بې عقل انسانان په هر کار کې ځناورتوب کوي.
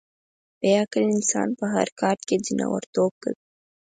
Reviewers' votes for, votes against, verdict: 2, 4, rejected